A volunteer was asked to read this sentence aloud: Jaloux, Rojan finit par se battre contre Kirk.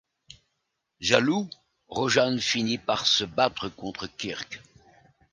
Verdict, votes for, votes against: rejected, 0, 2